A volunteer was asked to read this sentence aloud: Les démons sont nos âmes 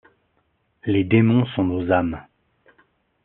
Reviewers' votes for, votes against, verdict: 2, 0, accepted